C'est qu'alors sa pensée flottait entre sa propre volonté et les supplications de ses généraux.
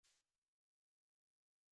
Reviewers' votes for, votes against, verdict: 0, 2, rejected